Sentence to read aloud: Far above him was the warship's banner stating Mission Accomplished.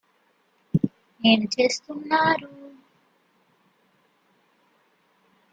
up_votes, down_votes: 0, 2